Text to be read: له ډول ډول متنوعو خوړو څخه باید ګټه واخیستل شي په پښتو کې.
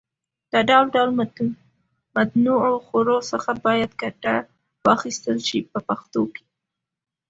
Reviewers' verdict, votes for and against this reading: accepted, 2, 1